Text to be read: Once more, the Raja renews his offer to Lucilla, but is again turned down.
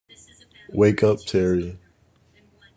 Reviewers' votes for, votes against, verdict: 0, 2, rejected